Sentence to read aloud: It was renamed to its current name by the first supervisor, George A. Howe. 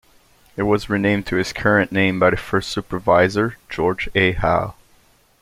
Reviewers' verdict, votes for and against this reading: accepted, 2, 0